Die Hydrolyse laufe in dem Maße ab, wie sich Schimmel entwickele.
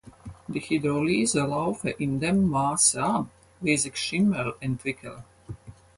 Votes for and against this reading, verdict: 2, 4, rejected